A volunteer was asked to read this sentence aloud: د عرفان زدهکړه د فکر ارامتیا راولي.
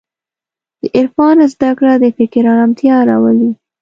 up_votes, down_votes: 3, 0